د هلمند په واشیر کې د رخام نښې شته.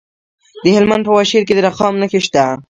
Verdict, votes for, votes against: rejected, 0, 2